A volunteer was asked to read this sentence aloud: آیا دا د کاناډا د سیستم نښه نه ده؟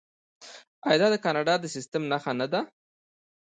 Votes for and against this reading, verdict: 2, 0, accepted